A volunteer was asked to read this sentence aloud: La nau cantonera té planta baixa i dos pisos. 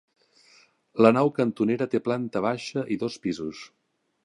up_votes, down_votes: 4, 0